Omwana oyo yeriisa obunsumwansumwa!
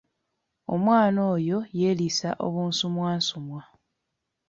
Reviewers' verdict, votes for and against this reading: accepted, 2, 0